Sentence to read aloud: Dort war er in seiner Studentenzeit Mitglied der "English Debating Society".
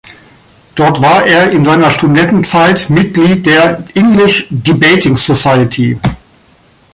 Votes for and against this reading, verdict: 3, 2, accepted